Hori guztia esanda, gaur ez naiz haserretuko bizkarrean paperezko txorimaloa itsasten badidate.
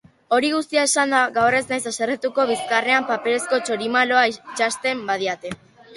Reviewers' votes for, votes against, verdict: 0, 3, rejected